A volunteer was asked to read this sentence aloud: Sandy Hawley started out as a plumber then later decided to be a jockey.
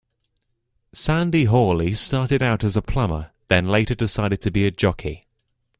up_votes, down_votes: 2, 0